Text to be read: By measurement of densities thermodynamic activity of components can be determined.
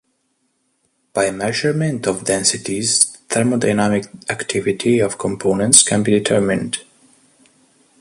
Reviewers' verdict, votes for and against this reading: rejected, 1, 2